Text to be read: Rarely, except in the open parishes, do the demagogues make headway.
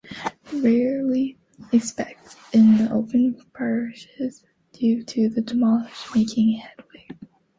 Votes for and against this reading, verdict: 0, 2, rejected